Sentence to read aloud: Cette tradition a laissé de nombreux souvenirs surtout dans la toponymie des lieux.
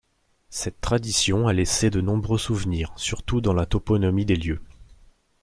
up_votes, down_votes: 0, 2